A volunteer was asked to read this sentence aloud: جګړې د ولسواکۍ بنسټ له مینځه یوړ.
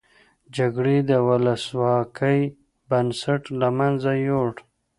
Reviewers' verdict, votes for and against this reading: accepted, 2, 0